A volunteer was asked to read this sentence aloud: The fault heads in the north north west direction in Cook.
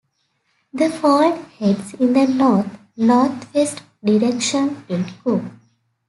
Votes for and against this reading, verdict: 3, 0, accepted